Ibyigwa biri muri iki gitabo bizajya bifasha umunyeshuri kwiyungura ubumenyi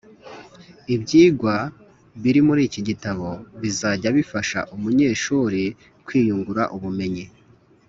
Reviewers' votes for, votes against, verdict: 3, 0, accepted